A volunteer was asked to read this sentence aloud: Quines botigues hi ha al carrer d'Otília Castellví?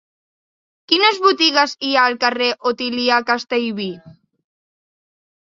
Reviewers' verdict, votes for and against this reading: rejected, 0, 2